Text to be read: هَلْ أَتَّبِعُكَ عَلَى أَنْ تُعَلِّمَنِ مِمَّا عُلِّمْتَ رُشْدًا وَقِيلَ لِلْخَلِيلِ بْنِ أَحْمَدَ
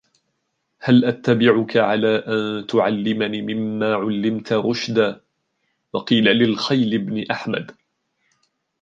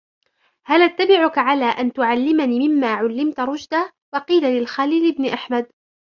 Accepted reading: second